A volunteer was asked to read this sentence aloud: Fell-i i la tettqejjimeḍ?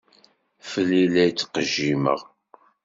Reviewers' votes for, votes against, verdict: 1, 2, rejected